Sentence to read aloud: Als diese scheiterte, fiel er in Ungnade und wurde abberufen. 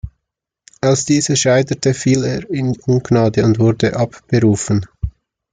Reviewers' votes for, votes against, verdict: 2, 0, accepted